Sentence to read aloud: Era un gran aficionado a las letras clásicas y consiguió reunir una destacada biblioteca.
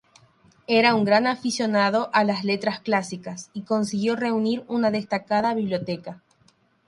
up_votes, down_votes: 0, 3